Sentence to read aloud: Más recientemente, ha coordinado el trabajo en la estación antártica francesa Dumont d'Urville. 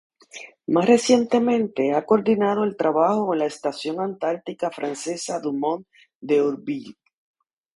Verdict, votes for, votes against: rejected, 0, 2